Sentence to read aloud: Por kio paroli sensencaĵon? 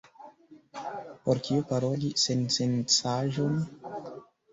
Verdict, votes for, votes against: rejected, 1, 2